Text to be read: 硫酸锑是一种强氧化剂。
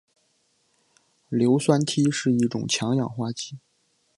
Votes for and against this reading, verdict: 2, 0, accepted